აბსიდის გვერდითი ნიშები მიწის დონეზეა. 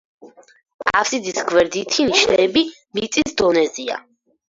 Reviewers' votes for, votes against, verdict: 4, 2, accepted